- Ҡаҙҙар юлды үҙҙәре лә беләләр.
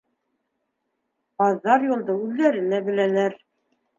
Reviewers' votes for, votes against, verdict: 2, 1, accepted